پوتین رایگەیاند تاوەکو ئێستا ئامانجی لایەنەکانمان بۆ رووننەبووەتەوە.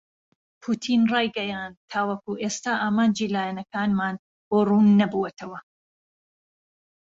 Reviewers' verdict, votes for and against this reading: accepted, 2, 0